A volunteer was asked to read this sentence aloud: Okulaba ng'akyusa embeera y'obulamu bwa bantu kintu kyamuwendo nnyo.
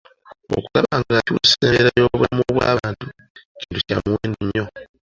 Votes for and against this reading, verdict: 1, 2, rejected